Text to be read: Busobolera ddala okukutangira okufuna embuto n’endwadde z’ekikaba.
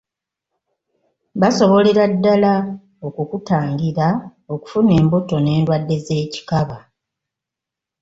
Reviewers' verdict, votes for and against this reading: rejected, 1, 2